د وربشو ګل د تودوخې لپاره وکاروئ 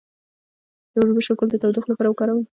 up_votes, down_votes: 1, 2